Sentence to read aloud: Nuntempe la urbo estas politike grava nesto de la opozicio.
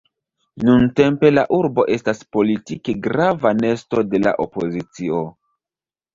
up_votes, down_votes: 2, 0